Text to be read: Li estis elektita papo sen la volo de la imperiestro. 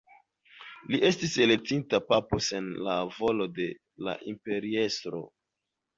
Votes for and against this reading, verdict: 2, 1, accepted